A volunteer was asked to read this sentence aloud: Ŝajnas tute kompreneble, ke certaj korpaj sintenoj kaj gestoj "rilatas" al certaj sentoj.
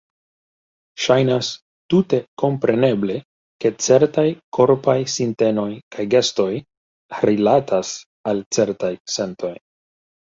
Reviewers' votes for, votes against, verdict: 2, 1, accepted